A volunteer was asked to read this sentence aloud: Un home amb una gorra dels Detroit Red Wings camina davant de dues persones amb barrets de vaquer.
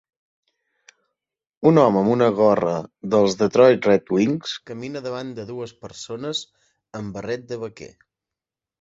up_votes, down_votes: 1, 2